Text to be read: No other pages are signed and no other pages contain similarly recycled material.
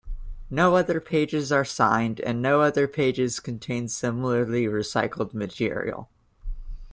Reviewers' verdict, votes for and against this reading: accepted, 2, 0